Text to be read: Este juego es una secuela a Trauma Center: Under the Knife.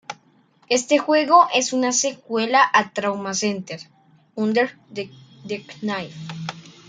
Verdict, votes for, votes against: rejected, 1, 2